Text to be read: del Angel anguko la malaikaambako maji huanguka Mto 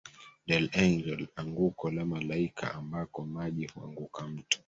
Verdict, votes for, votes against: accepted, 2, 1